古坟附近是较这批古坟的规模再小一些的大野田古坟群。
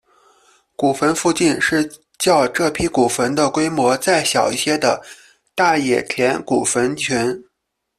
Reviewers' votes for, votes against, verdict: 2, 0, accepted